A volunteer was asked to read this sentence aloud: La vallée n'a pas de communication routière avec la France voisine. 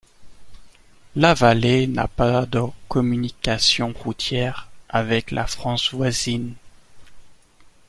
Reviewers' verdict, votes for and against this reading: accepted, 2, 0